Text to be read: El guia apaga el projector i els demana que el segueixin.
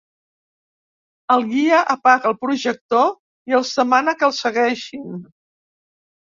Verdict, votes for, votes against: accepted, 3, 0